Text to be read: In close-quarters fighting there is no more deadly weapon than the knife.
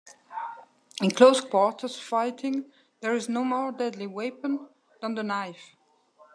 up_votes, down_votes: 0, 2